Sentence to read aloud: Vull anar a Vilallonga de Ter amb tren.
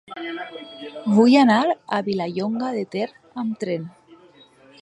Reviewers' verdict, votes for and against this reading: accepted, 2, 0